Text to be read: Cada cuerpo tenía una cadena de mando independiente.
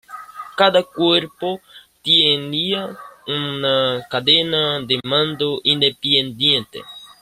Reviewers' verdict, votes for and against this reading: rejected, 1, 2